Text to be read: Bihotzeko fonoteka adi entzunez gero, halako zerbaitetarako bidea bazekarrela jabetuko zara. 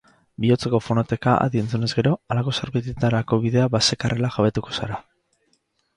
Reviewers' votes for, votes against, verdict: 4, 0, accepted